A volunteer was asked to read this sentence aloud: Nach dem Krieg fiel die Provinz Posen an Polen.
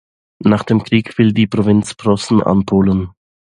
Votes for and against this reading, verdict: 0, 2, rejected